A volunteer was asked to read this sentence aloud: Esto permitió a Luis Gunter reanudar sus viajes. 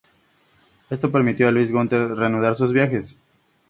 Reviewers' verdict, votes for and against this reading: accepted, 4, 0